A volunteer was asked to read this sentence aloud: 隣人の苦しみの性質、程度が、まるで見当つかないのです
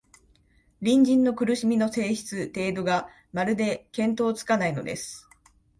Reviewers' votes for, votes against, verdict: 2, 1, accepted